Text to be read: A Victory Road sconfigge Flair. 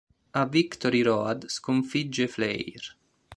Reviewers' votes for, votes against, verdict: 2, 0, accepted